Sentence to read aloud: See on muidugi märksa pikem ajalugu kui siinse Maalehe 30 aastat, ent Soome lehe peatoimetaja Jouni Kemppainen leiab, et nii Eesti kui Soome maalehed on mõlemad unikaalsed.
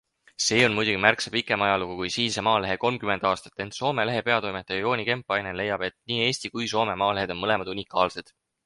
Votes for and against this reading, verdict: 0, 2, rejected